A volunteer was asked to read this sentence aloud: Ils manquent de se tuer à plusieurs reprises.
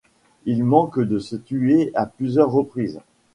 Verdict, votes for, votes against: rejected, 1, 2